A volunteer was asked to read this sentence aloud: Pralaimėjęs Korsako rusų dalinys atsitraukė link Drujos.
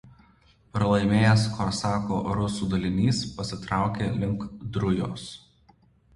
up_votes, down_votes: 1, 2